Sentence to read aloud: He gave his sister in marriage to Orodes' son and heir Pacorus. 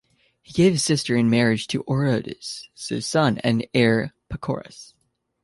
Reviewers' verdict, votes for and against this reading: accepted, 2, 0